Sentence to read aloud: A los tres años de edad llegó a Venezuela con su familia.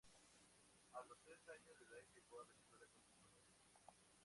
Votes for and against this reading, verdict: 0, 2, rejected